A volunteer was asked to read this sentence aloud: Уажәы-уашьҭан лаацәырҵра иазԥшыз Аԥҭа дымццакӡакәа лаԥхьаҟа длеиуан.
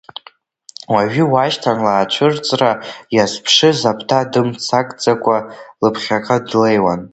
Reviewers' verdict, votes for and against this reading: rejected, 1, 2